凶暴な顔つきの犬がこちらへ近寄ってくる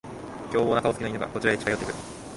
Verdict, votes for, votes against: rejected, 0, 2